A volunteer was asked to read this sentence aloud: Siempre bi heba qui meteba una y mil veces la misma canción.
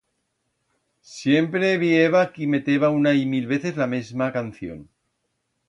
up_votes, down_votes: 1, 2